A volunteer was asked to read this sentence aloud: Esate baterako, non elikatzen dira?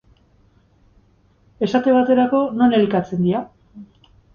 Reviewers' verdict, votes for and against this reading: rejected, 2, 2